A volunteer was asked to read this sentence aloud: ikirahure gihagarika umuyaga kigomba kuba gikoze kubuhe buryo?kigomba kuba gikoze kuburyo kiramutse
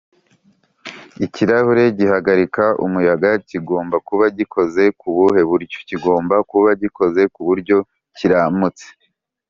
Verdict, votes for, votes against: accepted, 2, 0